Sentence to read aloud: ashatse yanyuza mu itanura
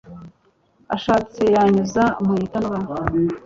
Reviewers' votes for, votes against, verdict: 2, 0, accepted